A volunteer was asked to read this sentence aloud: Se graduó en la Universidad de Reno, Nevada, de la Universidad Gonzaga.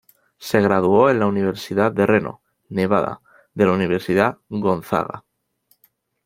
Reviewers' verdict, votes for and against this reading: accepted, 2, 0